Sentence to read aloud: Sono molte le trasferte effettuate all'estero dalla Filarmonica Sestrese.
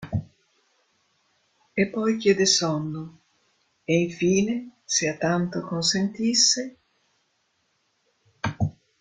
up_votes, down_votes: 0, 2